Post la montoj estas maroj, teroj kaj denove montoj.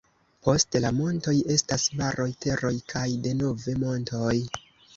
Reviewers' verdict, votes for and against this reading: accepted, 2, 0